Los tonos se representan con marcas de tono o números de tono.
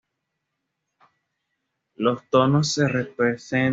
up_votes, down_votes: 1, 2